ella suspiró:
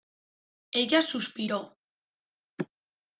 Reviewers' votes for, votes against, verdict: 2, 1, accepted